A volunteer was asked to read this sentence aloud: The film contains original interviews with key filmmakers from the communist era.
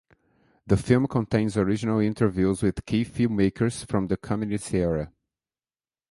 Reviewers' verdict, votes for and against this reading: accepted, 3, 0